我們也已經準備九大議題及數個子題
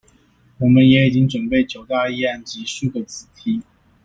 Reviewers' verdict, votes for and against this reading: rejected, 0, 2